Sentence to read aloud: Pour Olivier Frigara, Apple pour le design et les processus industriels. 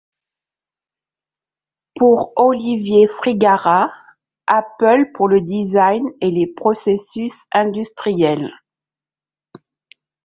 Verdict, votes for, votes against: rejected, 1, 2